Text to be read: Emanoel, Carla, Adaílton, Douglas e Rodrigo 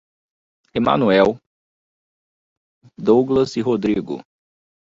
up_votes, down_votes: 0, 2